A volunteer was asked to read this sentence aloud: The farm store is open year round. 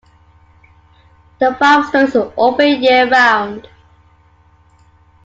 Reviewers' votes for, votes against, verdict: 2, 1, accepted